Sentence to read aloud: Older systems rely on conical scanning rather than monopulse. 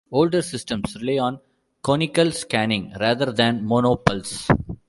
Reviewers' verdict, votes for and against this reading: rejected, 0, 2